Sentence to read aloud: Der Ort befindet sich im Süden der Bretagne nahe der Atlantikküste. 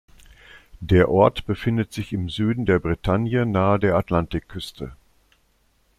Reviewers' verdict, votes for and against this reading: accepted, 2, 0